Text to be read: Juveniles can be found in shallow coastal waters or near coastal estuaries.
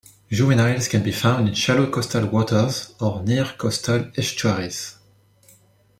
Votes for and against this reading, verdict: 2, 0, accepted